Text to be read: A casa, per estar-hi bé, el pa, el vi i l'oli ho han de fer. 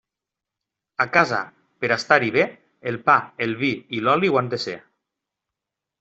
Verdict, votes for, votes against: rejected, 0, 2